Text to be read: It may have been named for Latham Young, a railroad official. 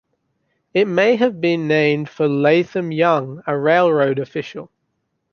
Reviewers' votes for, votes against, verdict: 3, 0, accepted